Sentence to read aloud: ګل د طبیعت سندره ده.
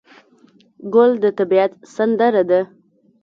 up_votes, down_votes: 2, 0